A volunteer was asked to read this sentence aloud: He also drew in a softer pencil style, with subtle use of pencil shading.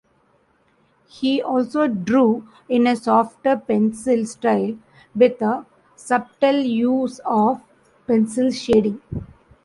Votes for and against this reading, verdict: 1, 2, rejected